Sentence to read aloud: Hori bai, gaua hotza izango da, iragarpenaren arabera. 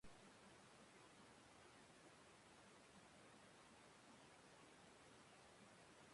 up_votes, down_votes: 0, 3